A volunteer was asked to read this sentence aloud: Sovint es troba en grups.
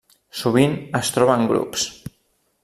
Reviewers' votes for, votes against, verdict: 3, 0, accepted